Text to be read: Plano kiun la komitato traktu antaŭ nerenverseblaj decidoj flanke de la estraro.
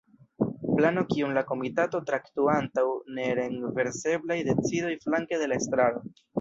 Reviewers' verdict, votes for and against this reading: rejected, 1, 2